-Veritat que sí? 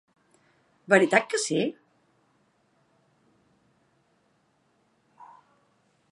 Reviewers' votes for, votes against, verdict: 2, 0, accepted